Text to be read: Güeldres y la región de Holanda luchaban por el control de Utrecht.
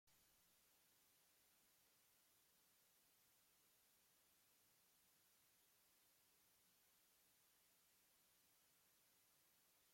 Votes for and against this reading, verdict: 0, 2, rejected